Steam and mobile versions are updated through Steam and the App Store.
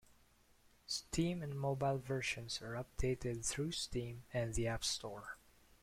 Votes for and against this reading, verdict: 2, 0, accepted